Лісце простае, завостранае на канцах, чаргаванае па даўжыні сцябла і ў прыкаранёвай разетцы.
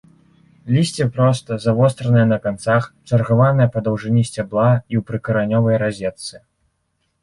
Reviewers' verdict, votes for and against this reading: accepted, 2, 1